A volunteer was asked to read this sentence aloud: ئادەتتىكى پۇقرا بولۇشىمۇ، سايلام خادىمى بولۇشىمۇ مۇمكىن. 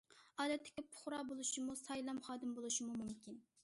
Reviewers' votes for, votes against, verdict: 2, 0, accepted